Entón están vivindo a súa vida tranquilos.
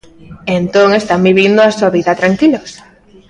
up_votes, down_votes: 2, 0